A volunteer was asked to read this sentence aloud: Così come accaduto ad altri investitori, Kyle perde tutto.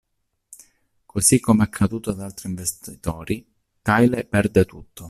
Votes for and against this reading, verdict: 1, 2, rejected